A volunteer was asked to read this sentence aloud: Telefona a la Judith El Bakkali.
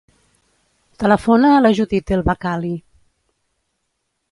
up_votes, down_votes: 4, 0